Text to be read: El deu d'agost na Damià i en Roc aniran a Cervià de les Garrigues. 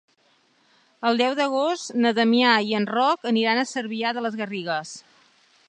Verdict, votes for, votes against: accepted, 3, 0